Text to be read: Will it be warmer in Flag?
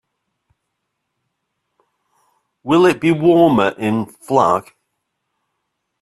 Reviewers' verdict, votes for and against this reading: accepted, 2, 0